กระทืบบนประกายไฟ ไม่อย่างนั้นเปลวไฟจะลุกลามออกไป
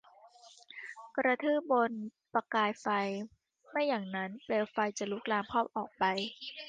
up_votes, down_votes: 0, 2